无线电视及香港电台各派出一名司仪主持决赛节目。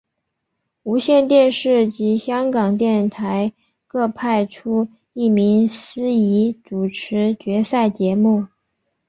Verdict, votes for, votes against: accepted, 5, 0